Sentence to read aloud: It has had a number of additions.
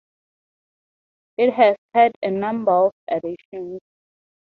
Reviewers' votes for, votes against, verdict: 2, 0, accepted